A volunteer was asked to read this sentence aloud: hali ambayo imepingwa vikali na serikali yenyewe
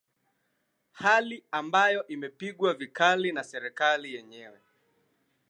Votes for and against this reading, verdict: 2, 0, accepted